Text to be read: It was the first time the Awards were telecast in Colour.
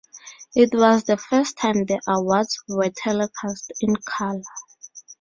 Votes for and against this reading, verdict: 0, 4, rejected